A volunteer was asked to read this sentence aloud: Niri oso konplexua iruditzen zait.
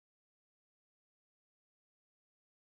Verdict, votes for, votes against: rejected, 0, 2